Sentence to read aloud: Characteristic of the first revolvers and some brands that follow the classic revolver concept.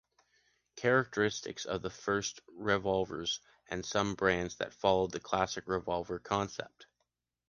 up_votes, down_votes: 0, 2